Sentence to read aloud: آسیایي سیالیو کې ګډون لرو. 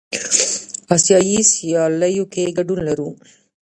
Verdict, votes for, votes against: rejected, 0, 2